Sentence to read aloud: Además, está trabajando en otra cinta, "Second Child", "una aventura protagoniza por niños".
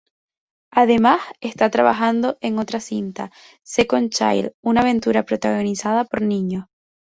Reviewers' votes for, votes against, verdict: 2, 0, accepted